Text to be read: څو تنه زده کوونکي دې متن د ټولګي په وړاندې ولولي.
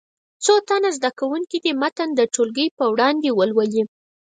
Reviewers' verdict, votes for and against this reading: accepted, 4, 0